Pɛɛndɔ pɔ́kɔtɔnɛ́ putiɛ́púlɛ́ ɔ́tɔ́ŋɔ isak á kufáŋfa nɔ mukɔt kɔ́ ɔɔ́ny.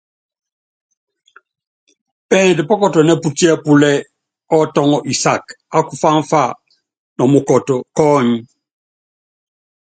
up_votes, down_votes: 2, 0